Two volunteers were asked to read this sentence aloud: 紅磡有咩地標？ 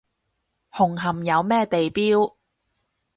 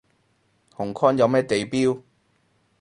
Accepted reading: first